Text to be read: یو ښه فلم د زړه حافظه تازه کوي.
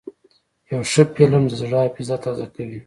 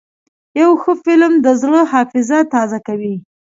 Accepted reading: second